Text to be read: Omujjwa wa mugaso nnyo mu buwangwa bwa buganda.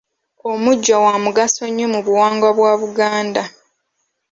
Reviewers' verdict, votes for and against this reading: accepted, 2, 0